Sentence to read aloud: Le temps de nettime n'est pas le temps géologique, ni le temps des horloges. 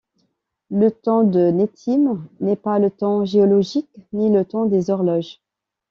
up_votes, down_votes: 2, 0